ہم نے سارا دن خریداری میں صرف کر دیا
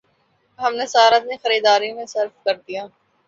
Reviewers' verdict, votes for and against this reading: accepted, 2, 0